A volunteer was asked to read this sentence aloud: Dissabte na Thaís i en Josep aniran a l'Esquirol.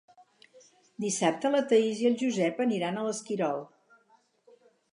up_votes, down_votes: 2, 4